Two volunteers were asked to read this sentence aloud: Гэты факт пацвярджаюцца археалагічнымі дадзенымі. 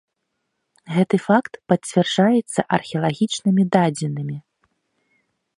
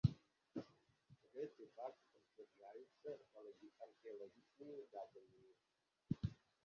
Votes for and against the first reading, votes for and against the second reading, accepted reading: 2, 0, 0, 3, first